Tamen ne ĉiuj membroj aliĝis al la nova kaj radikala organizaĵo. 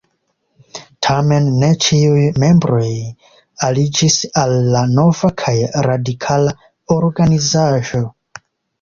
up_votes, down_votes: 2, 0